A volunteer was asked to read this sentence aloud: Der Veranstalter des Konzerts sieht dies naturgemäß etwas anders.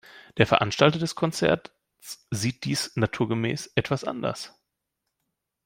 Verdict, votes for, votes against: rejected, 1, 2